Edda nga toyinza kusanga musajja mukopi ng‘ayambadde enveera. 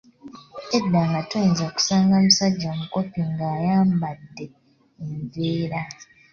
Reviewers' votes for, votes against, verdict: 2, 0, accepted